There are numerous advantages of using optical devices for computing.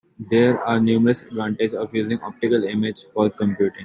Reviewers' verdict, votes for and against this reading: rejected, 1, 2